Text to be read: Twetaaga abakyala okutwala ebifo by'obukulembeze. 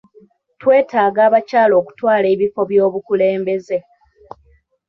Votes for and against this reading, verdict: 2, 1, accepted